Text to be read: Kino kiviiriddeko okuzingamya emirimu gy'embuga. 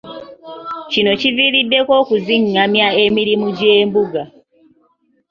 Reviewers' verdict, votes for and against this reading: rejected, 1, 2